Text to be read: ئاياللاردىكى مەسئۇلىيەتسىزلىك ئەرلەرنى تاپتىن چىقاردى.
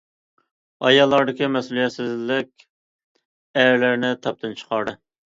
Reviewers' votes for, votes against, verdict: 2, 0, accepted